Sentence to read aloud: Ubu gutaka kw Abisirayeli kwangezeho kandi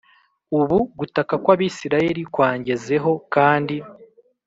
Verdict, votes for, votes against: accepted, 3, 0